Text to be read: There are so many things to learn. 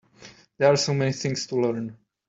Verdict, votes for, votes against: accepted, 3, 0